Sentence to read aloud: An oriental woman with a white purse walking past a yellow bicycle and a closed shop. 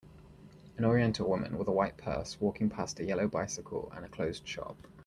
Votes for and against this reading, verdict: 2, 0, accepted